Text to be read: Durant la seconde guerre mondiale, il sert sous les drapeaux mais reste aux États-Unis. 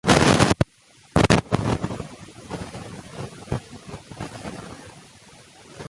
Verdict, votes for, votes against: rejected, 0, 2